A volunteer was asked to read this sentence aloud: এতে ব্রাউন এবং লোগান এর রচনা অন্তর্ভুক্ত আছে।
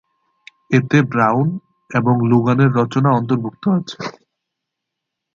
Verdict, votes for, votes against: rejected, 0, 2